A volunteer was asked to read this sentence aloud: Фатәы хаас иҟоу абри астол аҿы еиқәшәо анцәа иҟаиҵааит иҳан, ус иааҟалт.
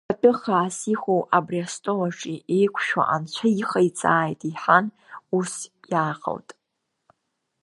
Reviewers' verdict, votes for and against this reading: rejected, 1, 2